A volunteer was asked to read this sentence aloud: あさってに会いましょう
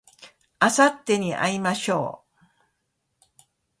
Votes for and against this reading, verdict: 2, 0, accepted